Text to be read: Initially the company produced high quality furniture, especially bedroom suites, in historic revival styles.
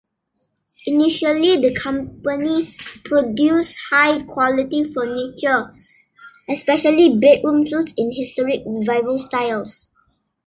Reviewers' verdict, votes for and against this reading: accepted, 2, 0